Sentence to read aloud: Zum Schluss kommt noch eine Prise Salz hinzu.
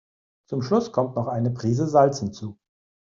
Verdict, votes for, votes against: accepted, 2, 0